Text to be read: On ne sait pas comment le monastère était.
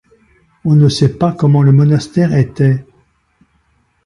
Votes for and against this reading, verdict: 2, 0, accepted